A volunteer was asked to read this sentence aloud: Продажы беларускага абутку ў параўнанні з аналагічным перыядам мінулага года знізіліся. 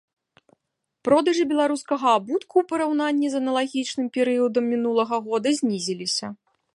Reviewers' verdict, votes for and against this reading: rejected, 1, 2